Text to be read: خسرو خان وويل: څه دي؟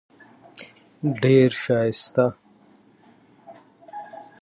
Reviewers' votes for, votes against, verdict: 1, 2, rejected